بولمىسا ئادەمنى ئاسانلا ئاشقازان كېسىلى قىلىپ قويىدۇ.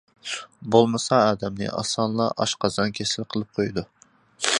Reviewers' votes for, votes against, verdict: 2, 0, accepted